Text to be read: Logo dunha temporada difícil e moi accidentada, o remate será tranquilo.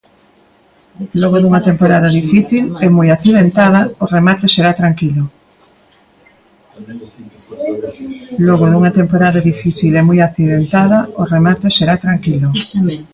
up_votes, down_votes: 0, 2